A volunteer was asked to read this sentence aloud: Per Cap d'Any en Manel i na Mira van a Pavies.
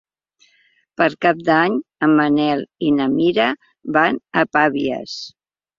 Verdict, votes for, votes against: accepted, 3, 0